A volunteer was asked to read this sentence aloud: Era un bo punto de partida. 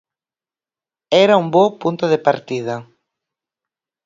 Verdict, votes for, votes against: accepted, 4, 0